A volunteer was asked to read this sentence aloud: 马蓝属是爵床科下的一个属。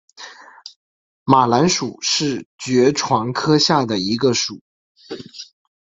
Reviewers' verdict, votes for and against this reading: accepted, 2, 0